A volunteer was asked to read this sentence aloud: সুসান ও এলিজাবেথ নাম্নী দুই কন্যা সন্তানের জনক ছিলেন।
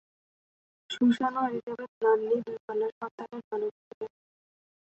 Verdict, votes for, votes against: rejected, 0, 2